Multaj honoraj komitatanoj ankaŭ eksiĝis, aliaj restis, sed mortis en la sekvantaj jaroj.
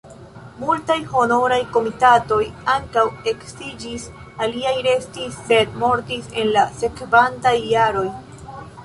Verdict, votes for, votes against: rejected, 0, 2